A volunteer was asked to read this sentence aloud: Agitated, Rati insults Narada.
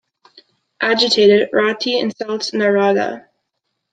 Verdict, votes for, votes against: accepted, 2, 0